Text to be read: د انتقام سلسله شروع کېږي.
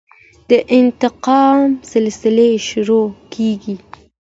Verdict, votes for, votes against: accepted, 2, 0